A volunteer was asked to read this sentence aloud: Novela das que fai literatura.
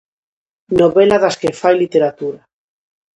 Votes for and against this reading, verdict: 2, 0, accepted